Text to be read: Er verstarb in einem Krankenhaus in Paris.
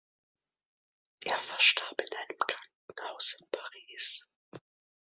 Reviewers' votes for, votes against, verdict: 2, 0, accepted